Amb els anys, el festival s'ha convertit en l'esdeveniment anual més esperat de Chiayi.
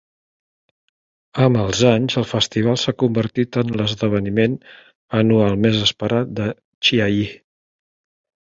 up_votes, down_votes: 3, 0